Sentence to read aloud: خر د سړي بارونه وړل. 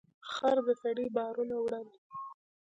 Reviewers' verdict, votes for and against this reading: accepted, 2, 0